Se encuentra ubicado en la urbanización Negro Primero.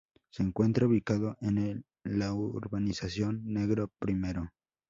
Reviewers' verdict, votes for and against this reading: rejected, 0, 2